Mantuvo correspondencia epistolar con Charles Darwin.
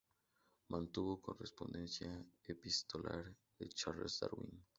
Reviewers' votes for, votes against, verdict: 2, 2, rejected